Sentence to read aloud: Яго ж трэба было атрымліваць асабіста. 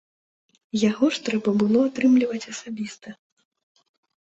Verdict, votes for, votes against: accepted, 2, 0